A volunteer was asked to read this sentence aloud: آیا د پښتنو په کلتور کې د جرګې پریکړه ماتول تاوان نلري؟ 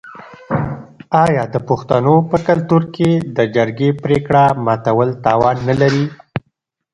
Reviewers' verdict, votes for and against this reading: rejected, 0, 2